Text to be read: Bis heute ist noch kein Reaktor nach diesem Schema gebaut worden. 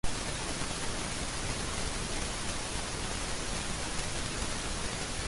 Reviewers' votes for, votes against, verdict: 0, 2, rejected